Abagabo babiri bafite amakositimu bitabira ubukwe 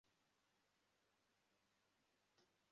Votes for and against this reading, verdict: 0, 2, rejected